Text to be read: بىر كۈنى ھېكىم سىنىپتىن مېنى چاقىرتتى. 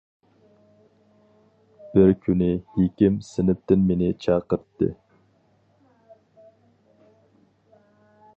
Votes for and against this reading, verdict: 2, 2, rejected